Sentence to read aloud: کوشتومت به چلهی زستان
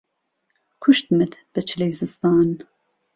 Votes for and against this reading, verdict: 0, 2, rejected